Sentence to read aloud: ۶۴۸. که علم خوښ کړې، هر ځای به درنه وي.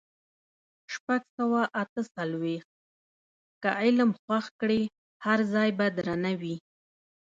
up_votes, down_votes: 0, 2